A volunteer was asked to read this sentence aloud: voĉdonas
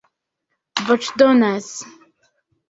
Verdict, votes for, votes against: accepted, 2, 0